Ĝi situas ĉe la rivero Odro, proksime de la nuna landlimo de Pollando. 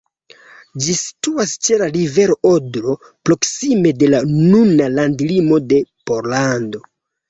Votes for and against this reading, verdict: 2, 0, accepted